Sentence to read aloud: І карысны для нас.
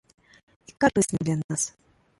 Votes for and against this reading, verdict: 1, 2, rejected